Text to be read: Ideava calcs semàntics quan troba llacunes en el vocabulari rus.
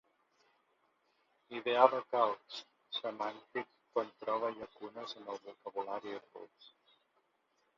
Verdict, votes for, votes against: rejected, 1, 3